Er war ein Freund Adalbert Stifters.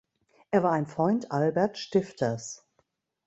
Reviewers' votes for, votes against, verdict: 1, 3, rejected